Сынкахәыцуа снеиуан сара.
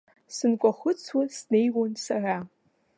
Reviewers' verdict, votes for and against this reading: accepted, 2, 0